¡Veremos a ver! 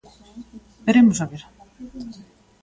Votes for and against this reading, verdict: 1, 2, rejected